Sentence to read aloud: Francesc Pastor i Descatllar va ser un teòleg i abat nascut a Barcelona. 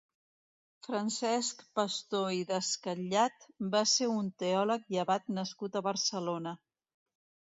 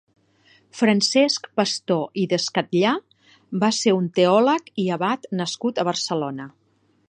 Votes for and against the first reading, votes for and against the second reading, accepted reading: 1, 2, 2, 0, second